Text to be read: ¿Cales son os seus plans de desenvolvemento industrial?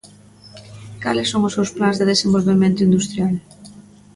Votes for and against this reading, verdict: 3, 0, accepted